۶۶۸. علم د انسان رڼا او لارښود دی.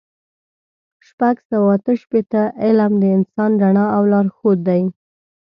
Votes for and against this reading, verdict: 0, 2, rejected